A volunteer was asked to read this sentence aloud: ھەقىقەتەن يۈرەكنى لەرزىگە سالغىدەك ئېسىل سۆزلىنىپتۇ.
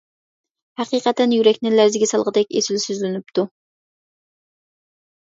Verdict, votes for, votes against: accepted, 2, 0